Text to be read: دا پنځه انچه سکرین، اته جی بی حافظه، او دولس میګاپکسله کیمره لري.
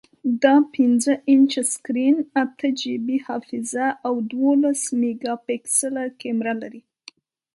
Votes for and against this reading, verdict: 2, 0, accepted